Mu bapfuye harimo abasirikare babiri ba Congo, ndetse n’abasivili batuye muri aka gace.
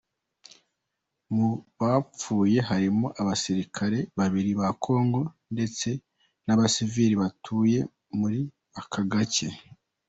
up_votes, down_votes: 2, 1